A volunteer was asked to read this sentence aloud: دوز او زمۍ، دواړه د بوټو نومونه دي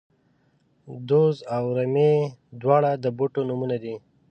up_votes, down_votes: 2, 0